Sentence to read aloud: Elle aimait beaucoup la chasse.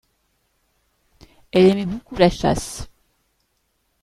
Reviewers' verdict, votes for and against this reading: rejected, 1, 2